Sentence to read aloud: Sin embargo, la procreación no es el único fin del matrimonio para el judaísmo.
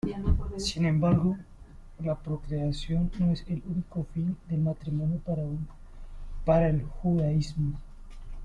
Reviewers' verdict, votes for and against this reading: rejected, 1, 2